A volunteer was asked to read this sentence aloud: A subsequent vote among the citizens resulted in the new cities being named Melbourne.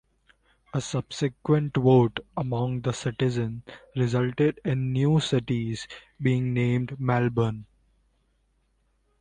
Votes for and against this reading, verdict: 2, 0, accepted